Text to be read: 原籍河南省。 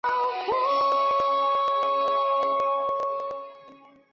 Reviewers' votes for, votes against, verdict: 0, 2, rejected